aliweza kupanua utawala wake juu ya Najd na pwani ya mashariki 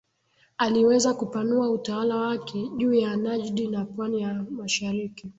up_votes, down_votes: 2, 1